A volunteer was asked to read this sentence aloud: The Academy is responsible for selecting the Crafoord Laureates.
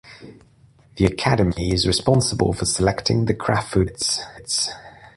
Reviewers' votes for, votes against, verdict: 1, 2, rejected